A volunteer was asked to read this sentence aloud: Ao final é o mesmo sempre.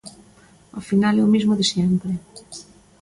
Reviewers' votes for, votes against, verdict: 1, 2, rejected